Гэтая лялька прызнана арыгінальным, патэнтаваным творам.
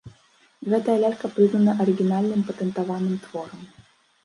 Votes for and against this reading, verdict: 1, 2, rejected